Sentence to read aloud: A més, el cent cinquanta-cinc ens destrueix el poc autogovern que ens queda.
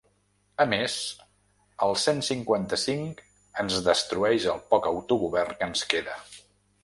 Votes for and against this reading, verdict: 2, 0, accepted